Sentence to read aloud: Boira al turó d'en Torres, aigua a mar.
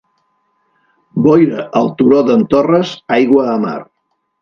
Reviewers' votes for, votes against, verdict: 1, 2, rejected